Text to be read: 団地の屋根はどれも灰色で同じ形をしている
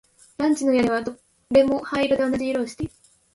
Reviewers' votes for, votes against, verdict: 1, 2, rejected